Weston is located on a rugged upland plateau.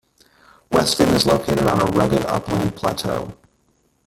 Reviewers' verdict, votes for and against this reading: rejected, 1, 2